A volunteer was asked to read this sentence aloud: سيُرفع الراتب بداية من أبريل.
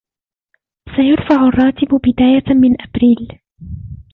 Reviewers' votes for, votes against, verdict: 0, 2, rejected